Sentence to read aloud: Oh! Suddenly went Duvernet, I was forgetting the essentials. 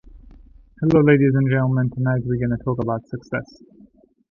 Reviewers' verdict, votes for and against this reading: rejected, 0, 2